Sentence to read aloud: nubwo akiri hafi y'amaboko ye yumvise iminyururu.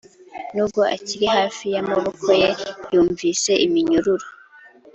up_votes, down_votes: 2, 0